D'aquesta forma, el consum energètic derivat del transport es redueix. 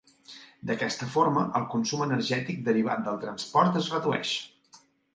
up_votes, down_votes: 2, 0